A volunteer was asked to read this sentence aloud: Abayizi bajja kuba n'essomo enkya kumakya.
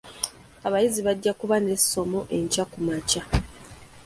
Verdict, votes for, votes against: accepted, 3, 0